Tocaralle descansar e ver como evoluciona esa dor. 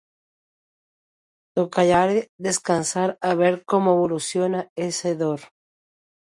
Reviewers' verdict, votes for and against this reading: rejected, 0, 2